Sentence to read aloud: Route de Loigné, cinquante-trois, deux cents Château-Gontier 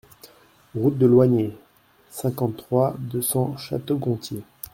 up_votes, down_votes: 2, 0